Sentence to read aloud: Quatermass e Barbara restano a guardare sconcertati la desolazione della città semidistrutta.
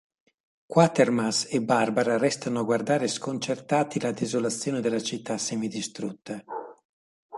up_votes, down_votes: 2, 0